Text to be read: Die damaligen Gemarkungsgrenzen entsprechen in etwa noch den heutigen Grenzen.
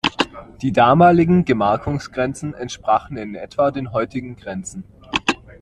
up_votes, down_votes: 1, 2